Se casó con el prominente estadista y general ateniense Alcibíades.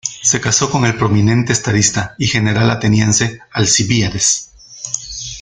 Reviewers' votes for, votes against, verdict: 2, 0, accepted